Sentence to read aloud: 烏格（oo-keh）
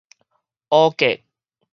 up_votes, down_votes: 4, 0